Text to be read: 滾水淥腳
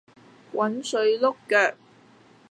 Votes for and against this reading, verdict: 1, 2, rejected